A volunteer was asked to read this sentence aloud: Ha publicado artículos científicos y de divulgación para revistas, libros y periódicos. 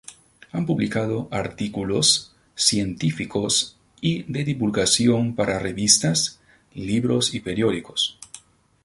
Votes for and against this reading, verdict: 2, 0, accepted